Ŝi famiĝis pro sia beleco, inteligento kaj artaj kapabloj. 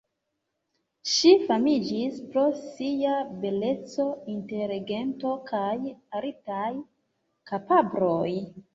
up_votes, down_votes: 1, 2